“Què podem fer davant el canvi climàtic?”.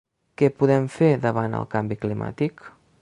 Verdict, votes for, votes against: accepted, 2, 0